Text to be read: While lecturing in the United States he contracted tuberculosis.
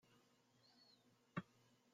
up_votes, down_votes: 0, 2